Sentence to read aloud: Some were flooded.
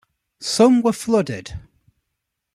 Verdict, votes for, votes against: accepted, 2, 0